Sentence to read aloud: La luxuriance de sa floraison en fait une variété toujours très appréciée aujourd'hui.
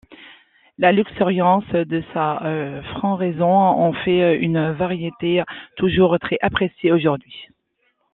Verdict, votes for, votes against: rejected, 0, 2